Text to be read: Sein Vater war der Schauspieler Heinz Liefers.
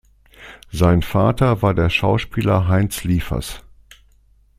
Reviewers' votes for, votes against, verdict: 2, 0, accepted